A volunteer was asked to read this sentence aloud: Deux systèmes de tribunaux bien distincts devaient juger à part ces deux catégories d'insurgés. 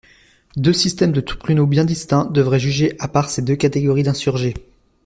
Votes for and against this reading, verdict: 1, 2, rejected